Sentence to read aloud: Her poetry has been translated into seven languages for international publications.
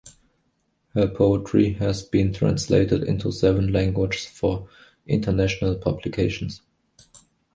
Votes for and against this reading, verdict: 2, 1, accepted